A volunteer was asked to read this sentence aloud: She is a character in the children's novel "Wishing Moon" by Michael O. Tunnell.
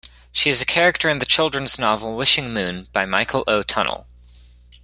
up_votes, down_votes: 2, 0